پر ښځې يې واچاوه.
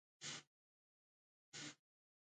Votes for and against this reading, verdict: 0, 2, rejected